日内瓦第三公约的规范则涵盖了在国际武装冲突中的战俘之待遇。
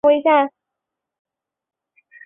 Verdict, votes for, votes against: rejected, 0, 5